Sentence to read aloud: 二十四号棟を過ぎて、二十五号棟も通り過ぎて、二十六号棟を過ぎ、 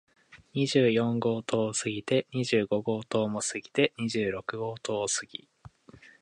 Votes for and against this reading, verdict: 3, 0, accepted